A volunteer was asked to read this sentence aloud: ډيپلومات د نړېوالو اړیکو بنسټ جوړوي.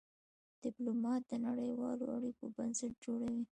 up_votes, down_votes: 2, 1